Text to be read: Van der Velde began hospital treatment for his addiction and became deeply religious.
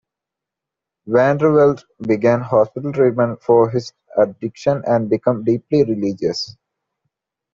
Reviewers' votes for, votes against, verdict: 2, 0, accepted